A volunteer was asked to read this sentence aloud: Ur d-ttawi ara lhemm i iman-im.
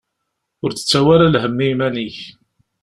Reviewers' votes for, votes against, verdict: 0, 2, rejected